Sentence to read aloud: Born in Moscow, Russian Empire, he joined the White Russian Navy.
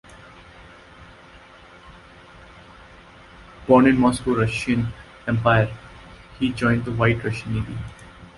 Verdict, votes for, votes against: accepted, 2, 0